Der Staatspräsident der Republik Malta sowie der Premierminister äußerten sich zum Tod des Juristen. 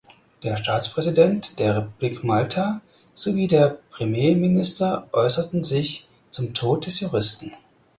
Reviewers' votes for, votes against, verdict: 4, 0, accepted